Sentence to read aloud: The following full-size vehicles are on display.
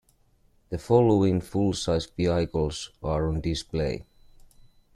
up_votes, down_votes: 0, 2